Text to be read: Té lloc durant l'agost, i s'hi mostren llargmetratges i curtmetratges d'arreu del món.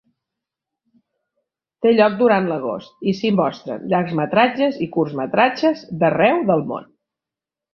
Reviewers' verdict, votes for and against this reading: rejected, 1, 2